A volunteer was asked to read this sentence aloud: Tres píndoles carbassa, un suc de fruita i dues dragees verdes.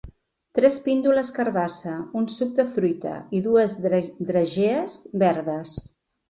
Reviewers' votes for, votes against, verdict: 1, 2, rejected